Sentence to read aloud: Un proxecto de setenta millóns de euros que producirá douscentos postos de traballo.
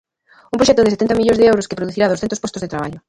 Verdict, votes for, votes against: accepted, 2, 1